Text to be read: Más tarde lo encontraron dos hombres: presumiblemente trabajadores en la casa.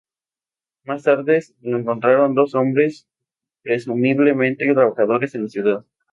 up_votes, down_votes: 0, 2